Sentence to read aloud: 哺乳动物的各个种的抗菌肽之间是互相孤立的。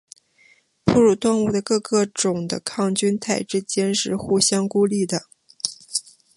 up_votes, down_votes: 4, 0